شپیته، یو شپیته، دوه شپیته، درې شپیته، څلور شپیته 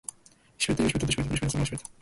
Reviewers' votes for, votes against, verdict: 1, 2, rejected